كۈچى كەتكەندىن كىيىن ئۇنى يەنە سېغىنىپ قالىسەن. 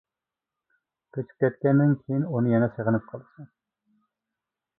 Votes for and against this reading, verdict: 1, 2, rejected